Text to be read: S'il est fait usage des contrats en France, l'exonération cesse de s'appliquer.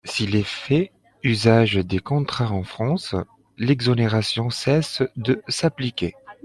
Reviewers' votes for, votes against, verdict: 2, 0, accepted